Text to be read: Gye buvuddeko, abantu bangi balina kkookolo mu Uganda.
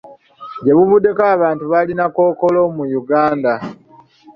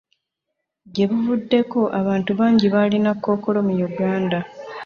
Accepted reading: second